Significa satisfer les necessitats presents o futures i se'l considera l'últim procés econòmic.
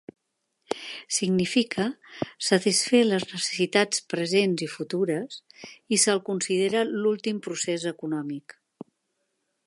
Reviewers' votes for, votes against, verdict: 0, 2, rejected